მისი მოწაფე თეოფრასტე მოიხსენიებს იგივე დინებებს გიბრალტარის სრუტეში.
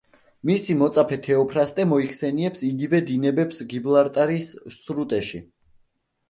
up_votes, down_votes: 0, 2